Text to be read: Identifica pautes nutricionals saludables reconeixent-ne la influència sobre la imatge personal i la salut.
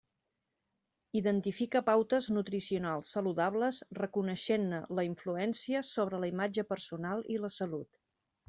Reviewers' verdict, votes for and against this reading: accepted, 3, 0